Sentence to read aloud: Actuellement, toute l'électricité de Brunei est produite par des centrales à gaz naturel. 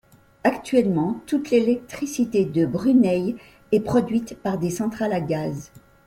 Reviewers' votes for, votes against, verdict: 1, 2, rejected